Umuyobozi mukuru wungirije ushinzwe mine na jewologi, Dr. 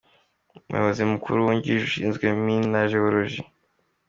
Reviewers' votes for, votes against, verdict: 2, 0, accepted